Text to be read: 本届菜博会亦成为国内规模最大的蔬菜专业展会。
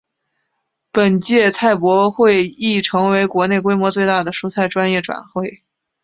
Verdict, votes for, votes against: accepted, 3, 0